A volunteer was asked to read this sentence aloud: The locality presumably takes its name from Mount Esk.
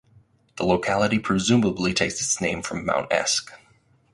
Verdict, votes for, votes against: accepted, 4, 0